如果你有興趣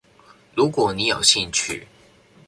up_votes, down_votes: 2, 4